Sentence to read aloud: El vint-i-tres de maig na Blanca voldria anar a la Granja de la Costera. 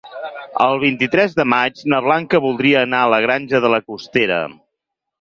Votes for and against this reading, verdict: 4, 0, accepted